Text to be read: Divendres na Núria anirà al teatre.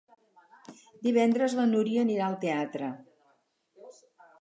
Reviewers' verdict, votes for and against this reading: rejected, 2, 2